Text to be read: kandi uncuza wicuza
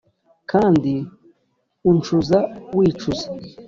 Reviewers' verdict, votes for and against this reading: accepted, 2, 0